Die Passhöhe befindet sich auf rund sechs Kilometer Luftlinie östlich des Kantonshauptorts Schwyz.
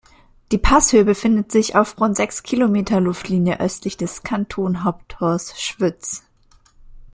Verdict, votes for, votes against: rejected, 1, 2